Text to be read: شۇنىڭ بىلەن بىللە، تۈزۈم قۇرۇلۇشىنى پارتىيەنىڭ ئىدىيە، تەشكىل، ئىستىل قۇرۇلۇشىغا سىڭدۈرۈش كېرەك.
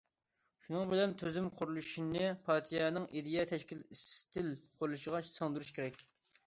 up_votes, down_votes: 2, 1